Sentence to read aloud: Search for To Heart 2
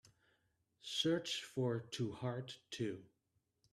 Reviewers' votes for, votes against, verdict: 0, 2, rejected